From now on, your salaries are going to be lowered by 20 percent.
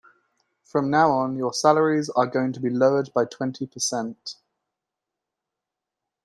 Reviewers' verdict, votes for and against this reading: rejected, 0, 2